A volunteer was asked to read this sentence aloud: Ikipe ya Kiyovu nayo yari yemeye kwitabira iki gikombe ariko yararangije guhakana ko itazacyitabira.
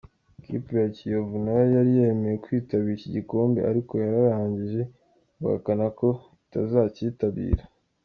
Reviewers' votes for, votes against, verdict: 2, 0, accepted